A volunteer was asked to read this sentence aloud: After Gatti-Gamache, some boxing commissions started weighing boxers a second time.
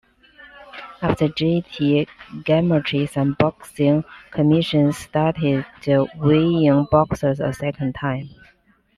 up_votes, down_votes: 0, 2